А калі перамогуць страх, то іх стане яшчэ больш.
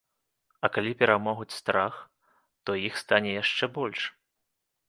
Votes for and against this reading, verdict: 2, 0, accepted